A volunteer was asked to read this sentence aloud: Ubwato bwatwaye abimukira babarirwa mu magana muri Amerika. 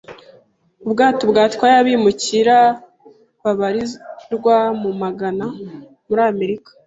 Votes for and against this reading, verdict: 1, 2, rejected